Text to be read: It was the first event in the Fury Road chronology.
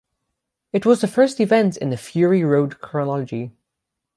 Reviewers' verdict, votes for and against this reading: accepted, 6, 0